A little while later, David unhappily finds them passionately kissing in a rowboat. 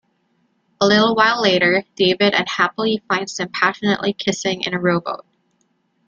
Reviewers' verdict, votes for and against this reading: rejected, 1, 2